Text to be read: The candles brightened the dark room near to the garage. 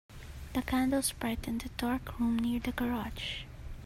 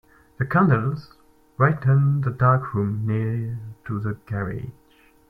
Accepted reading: second